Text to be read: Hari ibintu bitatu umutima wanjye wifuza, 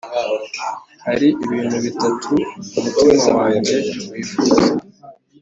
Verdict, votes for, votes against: accepted, 3, 0